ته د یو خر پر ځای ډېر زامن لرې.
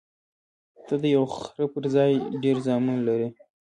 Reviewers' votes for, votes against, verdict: 0, 2, rejected